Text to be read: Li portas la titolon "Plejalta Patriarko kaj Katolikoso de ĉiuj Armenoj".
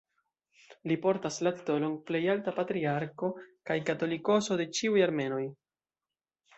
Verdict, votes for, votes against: rejected, 0, 2